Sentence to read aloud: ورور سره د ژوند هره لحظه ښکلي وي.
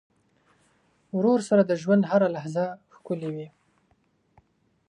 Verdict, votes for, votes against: accepted, 2, 0